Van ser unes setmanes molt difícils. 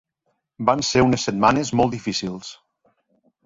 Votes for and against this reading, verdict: 3, 0, accepted